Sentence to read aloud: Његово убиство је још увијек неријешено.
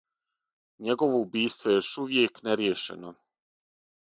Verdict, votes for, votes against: accepted, 6, 0